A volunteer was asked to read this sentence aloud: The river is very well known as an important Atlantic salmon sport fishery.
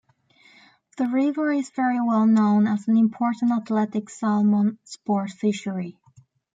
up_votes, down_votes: 0, 2